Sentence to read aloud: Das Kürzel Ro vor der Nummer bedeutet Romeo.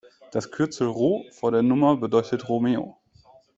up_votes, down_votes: 2, 0